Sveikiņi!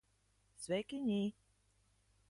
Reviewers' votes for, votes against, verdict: 1, 2, rejected